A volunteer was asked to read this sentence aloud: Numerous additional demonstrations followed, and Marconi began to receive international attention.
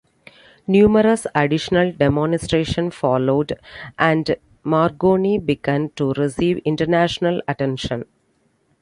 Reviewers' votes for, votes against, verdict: 2, 1, accepted